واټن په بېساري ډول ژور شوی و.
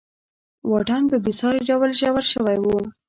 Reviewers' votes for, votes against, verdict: 2, 0, accepted